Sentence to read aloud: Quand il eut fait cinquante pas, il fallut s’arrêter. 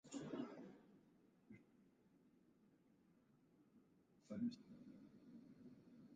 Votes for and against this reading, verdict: 0, 2, rejected